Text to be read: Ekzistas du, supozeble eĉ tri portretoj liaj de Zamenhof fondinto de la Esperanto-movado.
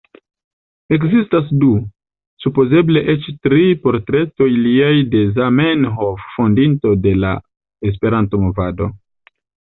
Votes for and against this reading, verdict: 2, 0, accepted